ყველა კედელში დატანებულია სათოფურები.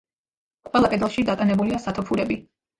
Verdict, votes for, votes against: accepted, 2, 0